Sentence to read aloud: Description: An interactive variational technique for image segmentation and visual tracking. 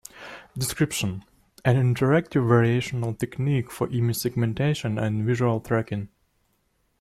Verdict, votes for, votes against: accepted, 2, 0